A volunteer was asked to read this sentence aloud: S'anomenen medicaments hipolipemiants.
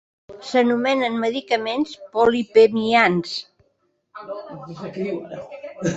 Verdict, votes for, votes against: rejected, 0, 2